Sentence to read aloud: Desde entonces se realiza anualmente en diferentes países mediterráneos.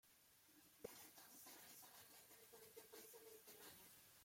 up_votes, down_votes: 0, 2